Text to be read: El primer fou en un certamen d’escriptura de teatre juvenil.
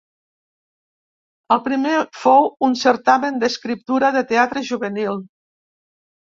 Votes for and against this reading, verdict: 0, 2, rejected